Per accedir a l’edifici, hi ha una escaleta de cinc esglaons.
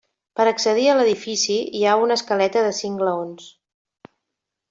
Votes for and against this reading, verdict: 0, 2, rejected